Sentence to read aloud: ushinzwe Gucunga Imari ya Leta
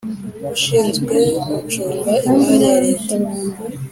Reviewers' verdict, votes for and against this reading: accepted, 3, 0